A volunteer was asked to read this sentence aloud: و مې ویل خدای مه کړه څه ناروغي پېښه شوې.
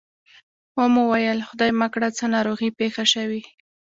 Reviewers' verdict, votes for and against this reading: accepted, 2, 1